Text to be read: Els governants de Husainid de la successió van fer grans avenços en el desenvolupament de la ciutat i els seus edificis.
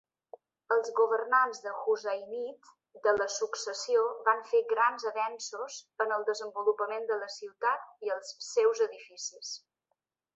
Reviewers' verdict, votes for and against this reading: accepted, 3, 0